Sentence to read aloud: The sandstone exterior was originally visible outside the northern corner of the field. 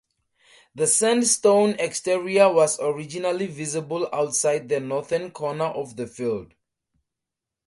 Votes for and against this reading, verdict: 4, 0, accepted